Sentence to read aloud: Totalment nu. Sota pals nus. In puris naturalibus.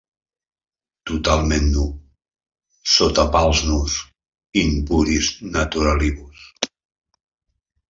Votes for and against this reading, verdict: 1, 2, rejected